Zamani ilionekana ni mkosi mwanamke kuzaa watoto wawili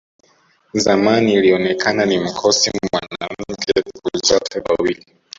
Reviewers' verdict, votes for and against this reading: rejected, 0, 2